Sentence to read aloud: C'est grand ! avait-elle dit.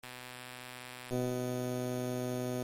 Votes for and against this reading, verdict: 0, 2, rejected